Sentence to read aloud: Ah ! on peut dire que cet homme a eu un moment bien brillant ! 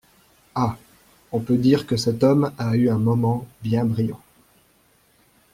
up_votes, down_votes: 2, 1